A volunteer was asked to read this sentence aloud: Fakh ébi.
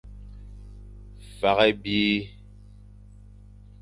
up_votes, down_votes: 2, 0